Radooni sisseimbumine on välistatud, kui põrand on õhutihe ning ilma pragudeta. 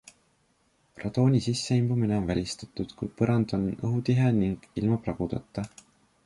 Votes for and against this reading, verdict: 2, 0, accepted